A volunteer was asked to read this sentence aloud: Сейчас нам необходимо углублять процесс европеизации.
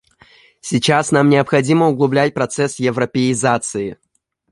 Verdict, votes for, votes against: accepted, 2, 0